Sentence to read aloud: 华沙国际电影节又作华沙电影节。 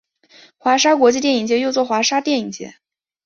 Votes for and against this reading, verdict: 3, 0, accepted